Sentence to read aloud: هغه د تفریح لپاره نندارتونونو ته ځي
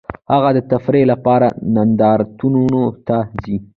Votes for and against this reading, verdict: 0, 2, rejected